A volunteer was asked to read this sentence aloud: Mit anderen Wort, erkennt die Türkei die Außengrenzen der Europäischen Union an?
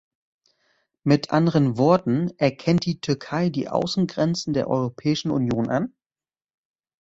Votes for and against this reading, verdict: 1, 2, rejected